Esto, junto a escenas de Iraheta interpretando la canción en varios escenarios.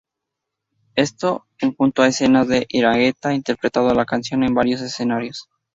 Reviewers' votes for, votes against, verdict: 0, 2, rejected